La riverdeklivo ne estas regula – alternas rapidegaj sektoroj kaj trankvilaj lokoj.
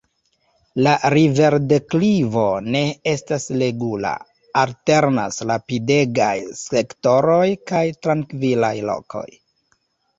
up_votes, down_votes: 1, 2